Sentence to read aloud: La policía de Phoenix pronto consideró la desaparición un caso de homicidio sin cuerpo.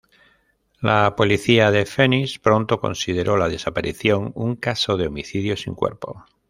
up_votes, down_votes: 2, 1